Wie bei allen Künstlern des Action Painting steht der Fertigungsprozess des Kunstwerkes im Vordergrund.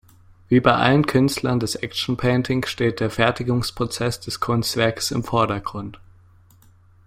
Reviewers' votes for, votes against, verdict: 2, 0, accepted